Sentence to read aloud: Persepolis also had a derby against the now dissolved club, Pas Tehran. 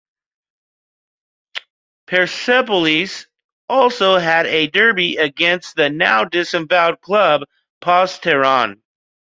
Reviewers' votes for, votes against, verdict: 1, 2, rejected